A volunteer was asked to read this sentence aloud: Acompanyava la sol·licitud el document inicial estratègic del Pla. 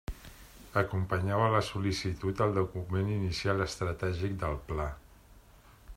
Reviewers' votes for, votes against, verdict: 2, 0, accepted